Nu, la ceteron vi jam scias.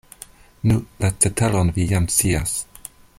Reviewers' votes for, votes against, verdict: 1, 2, rejected